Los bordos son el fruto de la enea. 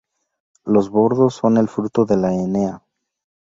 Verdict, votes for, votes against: accepted, 2, 0